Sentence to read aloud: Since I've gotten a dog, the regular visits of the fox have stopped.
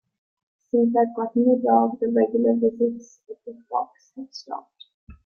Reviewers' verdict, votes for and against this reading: accepted, 2, 1